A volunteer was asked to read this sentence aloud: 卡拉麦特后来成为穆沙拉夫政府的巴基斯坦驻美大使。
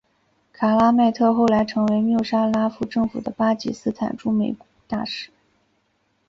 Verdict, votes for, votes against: rejected, 1, 3